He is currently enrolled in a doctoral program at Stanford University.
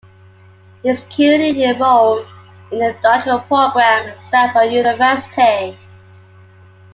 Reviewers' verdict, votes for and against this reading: rejected, 0, 2